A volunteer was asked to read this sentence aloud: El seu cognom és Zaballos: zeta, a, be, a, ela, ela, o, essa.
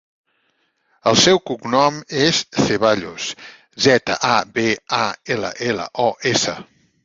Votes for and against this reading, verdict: 0, 2, rejected